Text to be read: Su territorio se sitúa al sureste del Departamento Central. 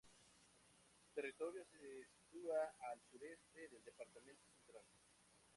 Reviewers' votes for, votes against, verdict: 0, 2, rejected